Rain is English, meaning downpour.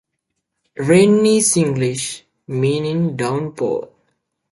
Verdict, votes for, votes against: accepted, 2, 1